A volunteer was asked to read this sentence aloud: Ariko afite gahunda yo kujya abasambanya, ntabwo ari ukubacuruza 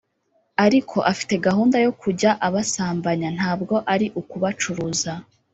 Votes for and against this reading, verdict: 2, 0, accepted